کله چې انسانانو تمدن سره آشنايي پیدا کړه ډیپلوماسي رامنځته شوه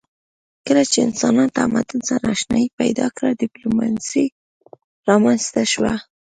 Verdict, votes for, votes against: accepted, 3, 0